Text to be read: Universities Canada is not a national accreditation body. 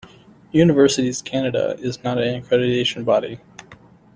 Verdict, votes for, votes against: rejected, 0, 2